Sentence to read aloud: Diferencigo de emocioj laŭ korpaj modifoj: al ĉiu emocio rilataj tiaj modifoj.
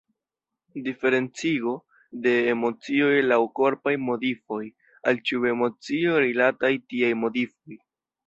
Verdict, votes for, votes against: accepted, 2, 1